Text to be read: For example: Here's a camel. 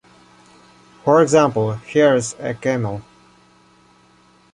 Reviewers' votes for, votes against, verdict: 2, 0, accepted